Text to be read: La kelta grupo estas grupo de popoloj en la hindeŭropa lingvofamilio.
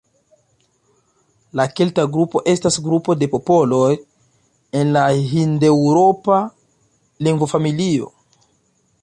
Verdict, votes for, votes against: accepted, 2, 0